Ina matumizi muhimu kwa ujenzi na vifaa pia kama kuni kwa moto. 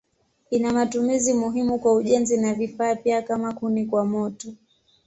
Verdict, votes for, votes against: accepted, 2, 0